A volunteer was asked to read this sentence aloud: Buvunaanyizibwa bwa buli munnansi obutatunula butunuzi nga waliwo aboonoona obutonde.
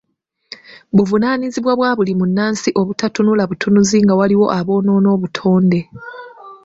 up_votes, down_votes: 2, 0